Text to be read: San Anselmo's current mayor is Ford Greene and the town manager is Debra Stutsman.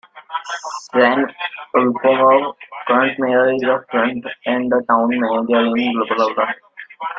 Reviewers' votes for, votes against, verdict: 1, 2, rejected